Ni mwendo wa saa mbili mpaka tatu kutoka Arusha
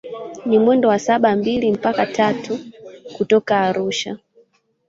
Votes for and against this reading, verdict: 1, 2, rejected